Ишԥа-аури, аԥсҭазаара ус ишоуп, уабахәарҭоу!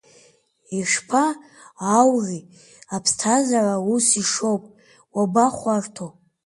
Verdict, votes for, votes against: rejected, 1, 2